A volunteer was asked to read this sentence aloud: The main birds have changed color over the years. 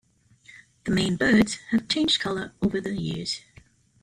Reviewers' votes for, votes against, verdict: 2, 0, accepted